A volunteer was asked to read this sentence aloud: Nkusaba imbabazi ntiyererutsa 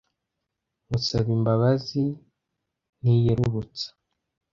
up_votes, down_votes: 1, 2